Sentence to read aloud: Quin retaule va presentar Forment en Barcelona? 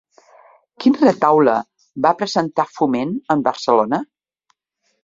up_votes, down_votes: 1, 2